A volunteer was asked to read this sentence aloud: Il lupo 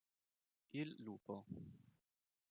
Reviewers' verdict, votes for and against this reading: rejected, 1, 2